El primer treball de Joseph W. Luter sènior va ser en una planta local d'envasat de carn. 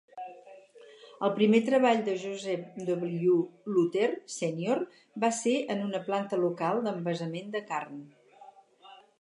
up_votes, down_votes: 0, 2